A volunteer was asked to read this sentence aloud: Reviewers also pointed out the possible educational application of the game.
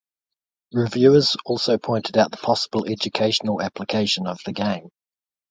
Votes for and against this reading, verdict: 2, 0, accepted